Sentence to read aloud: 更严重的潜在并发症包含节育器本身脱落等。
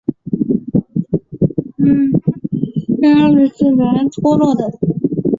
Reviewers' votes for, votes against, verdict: 1, 2, rejected